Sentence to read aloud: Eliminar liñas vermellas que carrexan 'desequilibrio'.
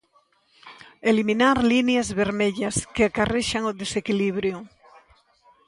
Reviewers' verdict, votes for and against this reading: rejected, 0, 2